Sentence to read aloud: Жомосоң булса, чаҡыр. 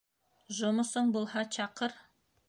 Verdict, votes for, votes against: rejected, 1, 2